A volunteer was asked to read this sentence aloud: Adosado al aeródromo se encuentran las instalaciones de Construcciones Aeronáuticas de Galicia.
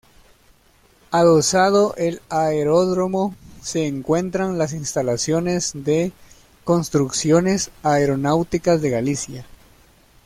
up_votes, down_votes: 1, 2